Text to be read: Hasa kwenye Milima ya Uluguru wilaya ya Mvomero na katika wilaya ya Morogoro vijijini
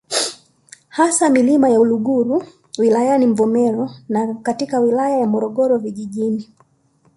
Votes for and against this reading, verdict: 0, 2, rejected